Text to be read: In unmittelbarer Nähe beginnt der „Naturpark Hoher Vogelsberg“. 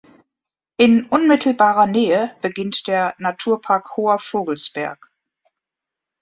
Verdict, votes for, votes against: accepted, 2, 0